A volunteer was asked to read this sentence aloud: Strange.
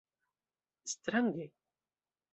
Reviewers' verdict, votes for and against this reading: accepted, 2, 0